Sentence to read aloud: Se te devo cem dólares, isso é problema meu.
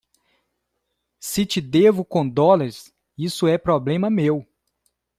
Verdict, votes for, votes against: rejected, 0, 2